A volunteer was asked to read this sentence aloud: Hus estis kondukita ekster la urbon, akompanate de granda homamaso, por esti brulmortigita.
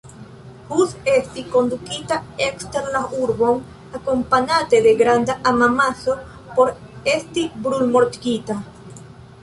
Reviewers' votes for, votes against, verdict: 2, 1, accepted